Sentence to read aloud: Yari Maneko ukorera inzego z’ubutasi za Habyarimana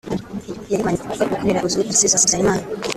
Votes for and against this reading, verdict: 0, 2, rejected